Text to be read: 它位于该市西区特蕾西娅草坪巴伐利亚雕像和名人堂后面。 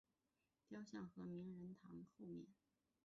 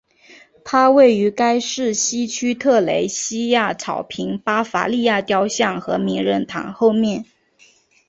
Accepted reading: second